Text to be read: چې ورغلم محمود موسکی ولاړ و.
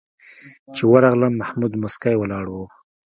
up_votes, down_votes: 2, 0